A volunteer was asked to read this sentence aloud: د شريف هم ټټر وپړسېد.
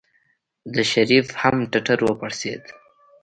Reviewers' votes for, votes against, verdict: 2, 0, accepted